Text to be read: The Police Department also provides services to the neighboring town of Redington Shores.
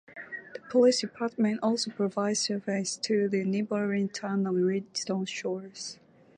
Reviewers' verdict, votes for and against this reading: rejected, 0, 2